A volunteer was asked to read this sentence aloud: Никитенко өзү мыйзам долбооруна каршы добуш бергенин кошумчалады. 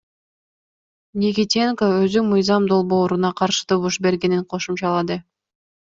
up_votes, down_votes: 2, 0